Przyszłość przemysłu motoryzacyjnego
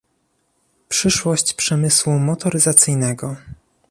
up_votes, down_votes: 2, 0